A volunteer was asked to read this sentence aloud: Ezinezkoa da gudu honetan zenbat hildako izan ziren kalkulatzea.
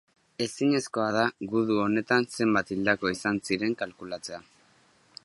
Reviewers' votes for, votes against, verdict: 3, 0, accepted